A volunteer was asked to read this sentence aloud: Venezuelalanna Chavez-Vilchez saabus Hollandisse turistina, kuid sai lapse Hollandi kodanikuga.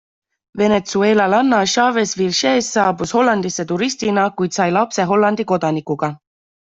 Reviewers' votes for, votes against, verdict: 2, 0, accepted